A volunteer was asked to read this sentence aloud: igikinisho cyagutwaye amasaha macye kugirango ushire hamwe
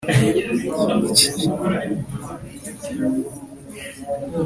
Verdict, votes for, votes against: rejected, 1, 2